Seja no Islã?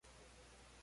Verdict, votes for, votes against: rejected, 0, 2